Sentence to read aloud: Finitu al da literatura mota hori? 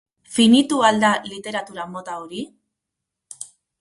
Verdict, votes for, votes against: accepted, 4, 0